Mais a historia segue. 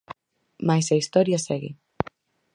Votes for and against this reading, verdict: 4, 0, accepted